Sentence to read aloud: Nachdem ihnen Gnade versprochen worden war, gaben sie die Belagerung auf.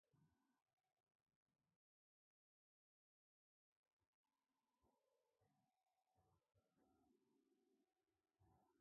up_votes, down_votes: 0, 2